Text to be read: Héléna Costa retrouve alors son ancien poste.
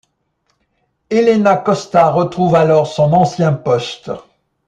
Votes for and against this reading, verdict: 2, 0, accepted